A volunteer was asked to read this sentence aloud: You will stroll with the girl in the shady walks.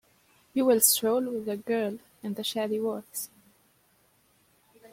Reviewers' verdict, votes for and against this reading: rejected, 0, 2